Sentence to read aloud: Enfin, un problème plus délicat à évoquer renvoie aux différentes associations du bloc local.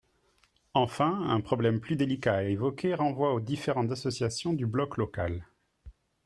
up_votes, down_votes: 2, 0